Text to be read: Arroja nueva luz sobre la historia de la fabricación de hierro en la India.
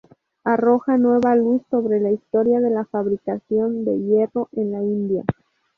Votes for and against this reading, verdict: 0, 2, rejected